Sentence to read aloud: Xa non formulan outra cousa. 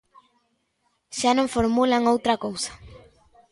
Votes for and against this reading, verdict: 2, 0, accepted